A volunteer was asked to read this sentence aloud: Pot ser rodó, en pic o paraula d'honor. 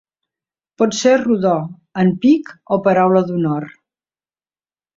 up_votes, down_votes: 2, 0